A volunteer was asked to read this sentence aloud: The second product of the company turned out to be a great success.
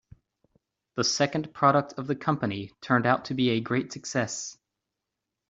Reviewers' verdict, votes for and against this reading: accepted, 3, 0